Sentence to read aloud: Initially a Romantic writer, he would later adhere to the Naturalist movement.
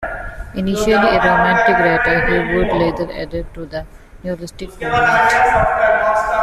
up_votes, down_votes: 0, 3